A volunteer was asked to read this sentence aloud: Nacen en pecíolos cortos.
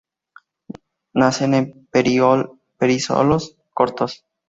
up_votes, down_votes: 2, 2